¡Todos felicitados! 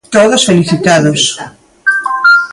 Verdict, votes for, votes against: rejected, 0, 2